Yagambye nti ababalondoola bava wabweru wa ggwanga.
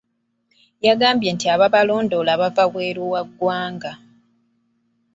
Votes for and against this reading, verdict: 2, 1, accepted